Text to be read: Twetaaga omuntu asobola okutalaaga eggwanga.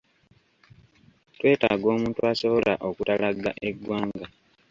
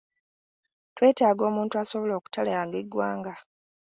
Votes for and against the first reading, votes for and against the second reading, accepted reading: 1, 2, 2, 1, second